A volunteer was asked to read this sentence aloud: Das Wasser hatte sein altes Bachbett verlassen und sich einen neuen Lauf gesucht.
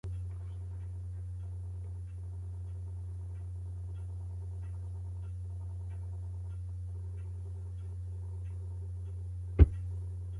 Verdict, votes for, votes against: rejected, 0, 2